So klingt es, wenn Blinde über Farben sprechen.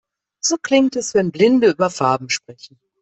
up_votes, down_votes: 2, 0